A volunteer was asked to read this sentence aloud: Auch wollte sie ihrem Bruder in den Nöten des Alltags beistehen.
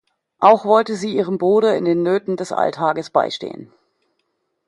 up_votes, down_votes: 1, 2